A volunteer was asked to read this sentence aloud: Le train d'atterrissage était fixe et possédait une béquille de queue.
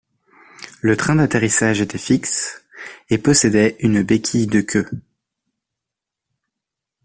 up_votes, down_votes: 2, 0